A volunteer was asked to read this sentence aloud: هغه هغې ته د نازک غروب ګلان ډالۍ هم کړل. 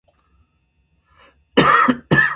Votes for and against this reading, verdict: 0, 2, rejected